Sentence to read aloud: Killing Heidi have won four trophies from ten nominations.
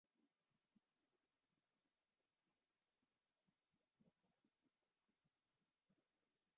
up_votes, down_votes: 0, 2